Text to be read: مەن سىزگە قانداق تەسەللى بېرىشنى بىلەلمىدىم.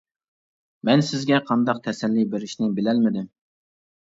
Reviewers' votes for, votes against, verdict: 3, 0, accepted